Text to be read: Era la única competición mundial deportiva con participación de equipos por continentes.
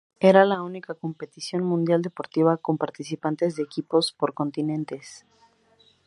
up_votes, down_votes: 0, 2